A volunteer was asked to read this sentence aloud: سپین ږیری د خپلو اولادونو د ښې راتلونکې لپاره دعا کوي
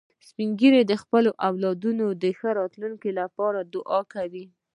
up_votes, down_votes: 2, 0